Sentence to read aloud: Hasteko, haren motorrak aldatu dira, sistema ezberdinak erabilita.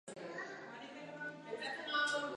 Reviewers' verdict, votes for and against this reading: rejected, 0, 2